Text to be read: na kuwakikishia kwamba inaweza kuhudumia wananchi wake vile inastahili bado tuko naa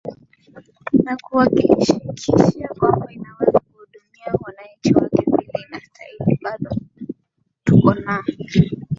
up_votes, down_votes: 0, 2